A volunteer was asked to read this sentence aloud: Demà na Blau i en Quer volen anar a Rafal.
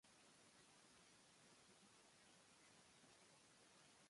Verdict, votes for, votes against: rejected, 1, 2